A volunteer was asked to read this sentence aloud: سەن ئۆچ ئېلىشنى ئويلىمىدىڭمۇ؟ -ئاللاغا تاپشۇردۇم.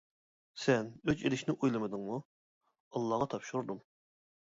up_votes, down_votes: 2, 0